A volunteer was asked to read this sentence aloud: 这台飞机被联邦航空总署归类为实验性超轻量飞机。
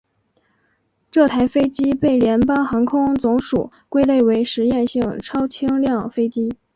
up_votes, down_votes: 3, 1